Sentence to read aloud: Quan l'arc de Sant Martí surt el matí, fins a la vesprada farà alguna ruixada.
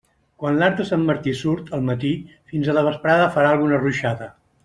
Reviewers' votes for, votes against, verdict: 2, 0, accepted